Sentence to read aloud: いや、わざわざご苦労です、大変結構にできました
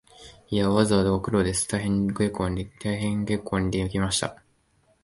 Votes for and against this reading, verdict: 1, 2, rejected